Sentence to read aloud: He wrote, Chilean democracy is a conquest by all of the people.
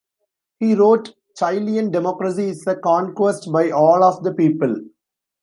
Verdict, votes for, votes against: accepted, 2, 1